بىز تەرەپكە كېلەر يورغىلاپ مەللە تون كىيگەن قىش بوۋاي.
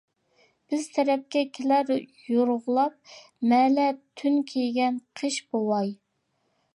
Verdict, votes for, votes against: rejected, 1, 2